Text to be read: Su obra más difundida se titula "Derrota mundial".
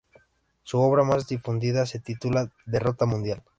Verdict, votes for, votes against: accepted, 2, 0